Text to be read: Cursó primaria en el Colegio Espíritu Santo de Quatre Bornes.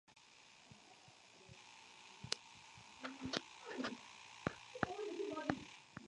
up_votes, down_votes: 0, 2